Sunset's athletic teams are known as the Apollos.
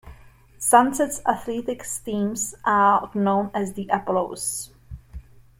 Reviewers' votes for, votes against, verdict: 0, 2, rejected